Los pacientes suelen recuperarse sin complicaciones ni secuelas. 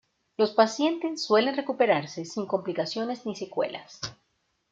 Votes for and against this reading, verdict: 1, 2, rejected